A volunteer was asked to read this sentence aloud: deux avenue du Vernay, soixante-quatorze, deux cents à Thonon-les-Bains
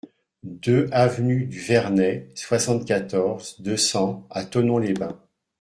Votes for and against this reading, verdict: 2, 1, accepted